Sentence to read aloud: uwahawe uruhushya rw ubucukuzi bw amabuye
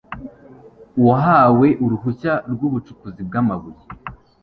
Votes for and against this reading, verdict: 2, 0, accepted